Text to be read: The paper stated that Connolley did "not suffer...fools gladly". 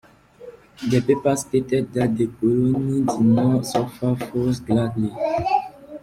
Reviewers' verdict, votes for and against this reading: rejected, 1, 2